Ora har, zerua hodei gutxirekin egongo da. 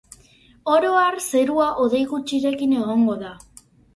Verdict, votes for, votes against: accepted, 4, 0